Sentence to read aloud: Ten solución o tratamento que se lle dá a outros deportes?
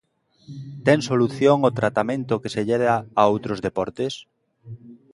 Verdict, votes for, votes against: rejected, 1, 2